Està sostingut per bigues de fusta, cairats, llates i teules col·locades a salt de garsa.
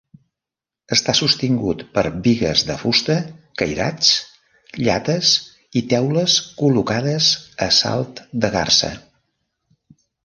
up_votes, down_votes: 2, 0